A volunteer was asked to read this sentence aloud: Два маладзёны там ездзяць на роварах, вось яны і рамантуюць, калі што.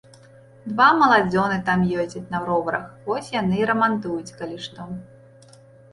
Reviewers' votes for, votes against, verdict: 1, 2, rejected